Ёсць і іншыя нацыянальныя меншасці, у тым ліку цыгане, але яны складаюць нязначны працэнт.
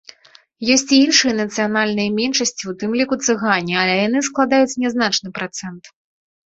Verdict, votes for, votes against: rejected, 1, 2